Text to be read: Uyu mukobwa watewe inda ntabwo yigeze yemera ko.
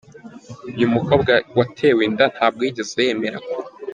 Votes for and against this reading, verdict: 0, 2, rejected